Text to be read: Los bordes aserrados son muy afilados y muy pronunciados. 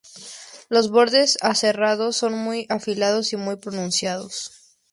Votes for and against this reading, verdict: 2, 0, accepted